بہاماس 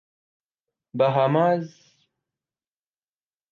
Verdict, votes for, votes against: accepted, 3, 0